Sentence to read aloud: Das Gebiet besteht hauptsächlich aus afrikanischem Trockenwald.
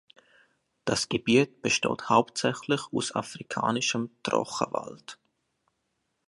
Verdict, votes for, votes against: accepted, 2, 1